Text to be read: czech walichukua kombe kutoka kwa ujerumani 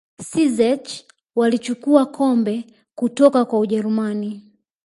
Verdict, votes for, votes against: accepted, 3, 0